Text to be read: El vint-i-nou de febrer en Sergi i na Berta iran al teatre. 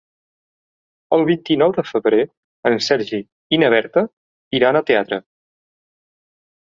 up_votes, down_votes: 0, 2